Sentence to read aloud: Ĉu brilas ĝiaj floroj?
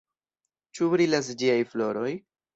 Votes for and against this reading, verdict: 2, 0, accepted